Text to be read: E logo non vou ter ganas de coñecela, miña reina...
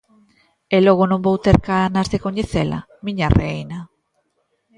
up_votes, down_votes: 2, 1